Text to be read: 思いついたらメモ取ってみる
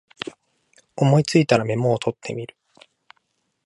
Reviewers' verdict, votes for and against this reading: accepted, 2, 1